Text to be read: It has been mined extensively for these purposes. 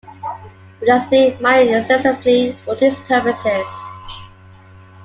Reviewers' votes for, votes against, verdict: 2, 1, accepted